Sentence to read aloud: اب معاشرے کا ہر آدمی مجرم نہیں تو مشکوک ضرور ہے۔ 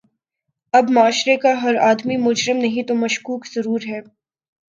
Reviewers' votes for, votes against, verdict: 2, 0, accepted